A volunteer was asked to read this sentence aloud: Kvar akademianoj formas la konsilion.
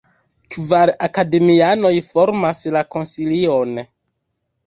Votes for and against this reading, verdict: 1, 2, rejected